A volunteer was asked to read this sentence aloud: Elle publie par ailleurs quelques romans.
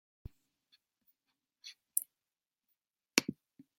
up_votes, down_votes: 0, 2